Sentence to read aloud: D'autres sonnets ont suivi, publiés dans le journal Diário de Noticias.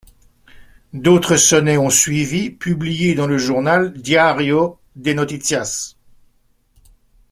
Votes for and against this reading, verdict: 2, 0, accepted